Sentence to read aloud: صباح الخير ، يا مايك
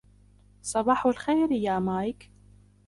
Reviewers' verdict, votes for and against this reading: rejected, 1, 2